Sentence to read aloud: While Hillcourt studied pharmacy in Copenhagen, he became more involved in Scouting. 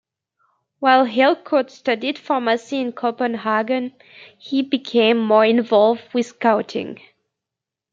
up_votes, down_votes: 1, 2